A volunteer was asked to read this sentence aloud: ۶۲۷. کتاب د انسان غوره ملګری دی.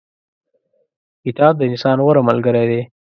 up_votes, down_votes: 0, 2